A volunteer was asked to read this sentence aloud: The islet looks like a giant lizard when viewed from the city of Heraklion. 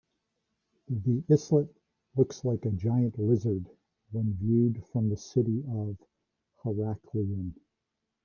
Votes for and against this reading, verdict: 0, 2, rejected